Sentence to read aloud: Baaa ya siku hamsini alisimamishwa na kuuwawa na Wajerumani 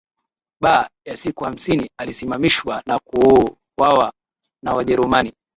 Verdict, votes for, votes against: rejected, 1, 3